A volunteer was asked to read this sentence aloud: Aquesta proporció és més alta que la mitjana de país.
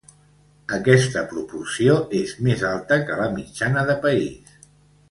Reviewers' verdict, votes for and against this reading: accepted, 2, 1